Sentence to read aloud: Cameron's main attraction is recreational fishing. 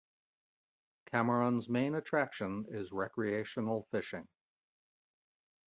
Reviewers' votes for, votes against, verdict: 2, 0, accepted